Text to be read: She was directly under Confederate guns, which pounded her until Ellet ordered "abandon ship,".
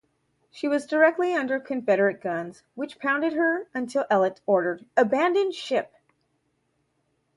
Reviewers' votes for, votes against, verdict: 4, 0, accepted